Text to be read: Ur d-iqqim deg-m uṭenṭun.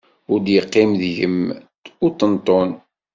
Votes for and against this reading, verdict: 2, 0, accepted